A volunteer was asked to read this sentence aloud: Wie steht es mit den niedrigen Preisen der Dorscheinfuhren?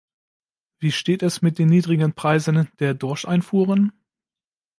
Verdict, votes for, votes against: rejected, 1, 2